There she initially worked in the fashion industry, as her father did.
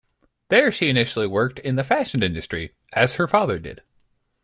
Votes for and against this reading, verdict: 2, 1, accepted